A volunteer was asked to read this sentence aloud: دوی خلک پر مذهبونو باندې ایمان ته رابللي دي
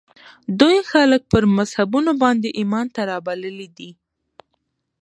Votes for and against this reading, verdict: 3, 2, accepted